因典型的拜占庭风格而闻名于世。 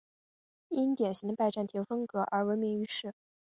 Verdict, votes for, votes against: rejected, 0, 2